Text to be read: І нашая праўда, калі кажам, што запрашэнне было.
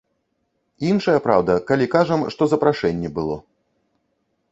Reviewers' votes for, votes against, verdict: 0, 2, rejected